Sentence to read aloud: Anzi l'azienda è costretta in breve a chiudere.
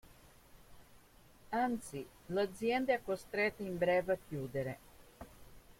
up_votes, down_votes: 2, 1